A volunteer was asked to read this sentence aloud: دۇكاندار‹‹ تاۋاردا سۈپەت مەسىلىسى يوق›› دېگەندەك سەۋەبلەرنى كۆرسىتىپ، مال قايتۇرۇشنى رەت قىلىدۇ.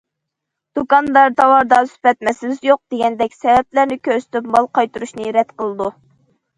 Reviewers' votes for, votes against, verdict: 2, 0, accepted